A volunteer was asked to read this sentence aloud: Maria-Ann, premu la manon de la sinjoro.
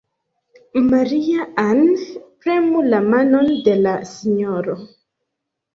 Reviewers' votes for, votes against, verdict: 2, 0, accepted